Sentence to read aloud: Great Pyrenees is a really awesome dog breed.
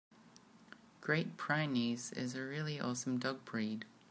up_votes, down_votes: 0, 2